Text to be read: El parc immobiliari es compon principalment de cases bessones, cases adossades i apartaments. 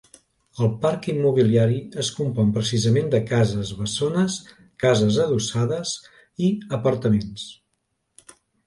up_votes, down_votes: 0, 2